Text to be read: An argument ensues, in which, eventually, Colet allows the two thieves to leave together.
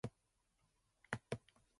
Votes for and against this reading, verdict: 0, 2, rejected